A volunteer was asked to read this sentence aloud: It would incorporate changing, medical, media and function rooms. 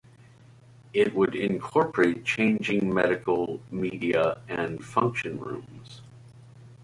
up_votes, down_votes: 2, 0